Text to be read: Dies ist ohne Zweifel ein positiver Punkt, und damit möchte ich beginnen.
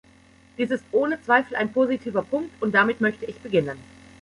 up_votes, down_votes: 2, 0